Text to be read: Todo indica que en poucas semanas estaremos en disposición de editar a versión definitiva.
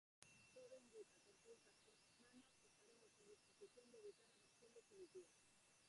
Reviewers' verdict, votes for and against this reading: rejected, 0, 4